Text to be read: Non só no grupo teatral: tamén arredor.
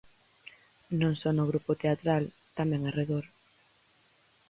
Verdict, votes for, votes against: accepted, 4, 0